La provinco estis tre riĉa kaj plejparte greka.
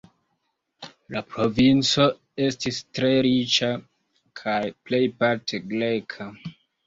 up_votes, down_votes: 3, 1